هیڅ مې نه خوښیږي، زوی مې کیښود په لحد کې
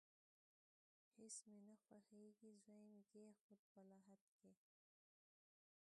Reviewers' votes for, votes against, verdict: 0, 2, rejected